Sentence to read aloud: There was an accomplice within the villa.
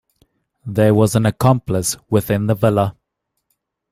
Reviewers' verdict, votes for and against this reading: accepted, 2, 0